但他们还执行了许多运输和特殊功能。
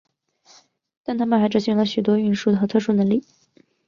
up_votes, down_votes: 2, 4